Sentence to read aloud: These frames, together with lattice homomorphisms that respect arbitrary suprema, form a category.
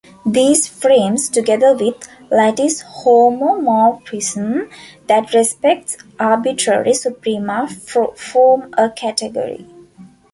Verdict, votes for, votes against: rejected, 0, 2